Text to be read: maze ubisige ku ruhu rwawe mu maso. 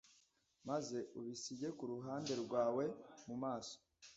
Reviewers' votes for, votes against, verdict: 1, 2, rejected